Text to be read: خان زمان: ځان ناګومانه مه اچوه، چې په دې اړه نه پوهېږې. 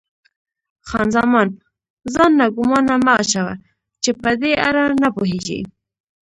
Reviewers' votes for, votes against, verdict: 2, 0, accepted